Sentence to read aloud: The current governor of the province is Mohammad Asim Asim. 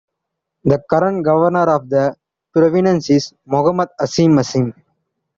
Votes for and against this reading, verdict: 1, 2, rejected